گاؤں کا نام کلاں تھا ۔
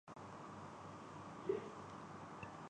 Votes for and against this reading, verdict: 0, 5, rejected